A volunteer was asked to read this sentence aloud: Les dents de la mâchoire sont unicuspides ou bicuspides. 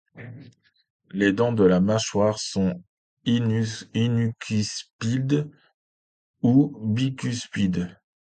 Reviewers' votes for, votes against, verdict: 0, 2, rejected